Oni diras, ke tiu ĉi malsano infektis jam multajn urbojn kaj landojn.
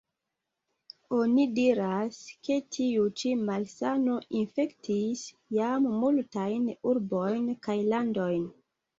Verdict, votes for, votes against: accepted, 2, 1